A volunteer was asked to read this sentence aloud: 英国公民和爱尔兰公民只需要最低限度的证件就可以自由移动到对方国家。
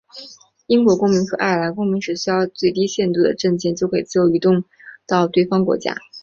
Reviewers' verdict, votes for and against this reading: accepted, 2, 0